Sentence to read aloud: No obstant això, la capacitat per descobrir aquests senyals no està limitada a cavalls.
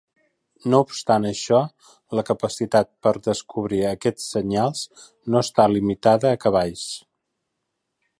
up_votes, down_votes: 2, 0